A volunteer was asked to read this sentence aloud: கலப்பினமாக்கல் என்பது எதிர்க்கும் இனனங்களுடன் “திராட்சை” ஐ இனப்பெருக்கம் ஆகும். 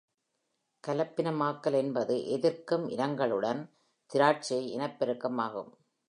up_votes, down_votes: 2, 1